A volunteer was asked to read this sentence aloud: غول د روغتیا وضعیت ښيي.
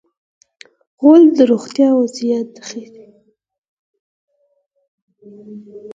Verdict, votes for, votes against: accepted, 4, 0